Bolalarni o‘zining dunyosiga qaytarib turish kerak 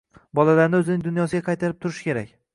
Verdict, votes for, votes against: accepted, 3, 1